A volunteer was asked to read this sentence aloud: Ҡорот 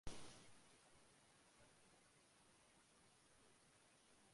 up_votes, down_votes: 1, 2